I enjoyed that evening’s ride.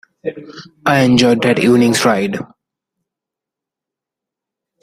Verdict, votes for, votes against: rejected, 1, 2